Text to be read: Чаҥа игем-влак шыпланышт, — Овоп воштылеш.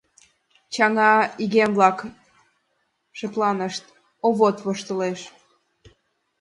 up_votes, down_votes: 1, 2